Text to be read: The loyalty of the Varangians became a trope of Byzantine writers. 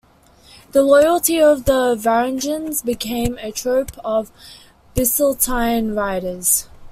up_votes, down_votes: 2, 0